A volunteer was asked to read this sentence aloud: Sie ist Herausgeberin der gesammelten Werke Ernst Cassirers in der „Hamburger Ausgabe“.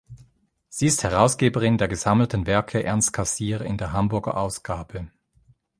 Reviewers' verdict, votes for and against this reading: rejected, 1, 2